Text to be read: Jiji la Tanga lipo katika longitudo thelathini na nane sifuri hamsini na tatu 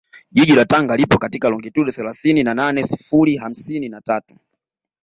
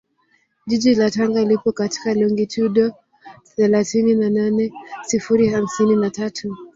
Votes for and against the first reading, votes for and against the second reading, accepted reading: 2, 0, 0, 2, first